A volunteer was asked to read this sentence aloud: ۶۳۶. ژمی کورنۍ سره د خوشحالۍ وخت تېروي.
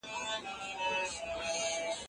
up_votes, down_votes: 0, 2